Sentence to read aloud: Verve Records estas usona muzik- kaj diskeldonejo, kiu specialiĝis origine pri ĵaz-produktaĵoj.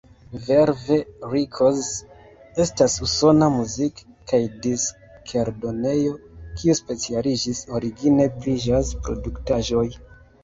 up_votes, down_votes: 0, 2